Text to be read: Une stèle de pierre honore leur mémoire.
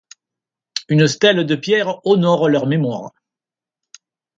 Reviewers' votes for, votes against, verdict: 2, 0, accepted